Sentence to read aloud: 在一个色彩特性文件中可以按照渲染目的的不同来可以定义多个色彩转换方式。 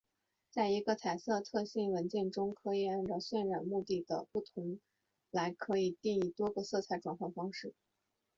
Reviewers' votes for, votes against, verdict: 0, 2, rejected